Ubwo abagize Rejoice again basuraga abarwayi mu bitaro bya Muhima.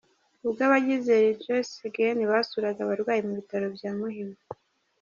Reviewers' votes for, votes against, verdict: 2, 0, accepted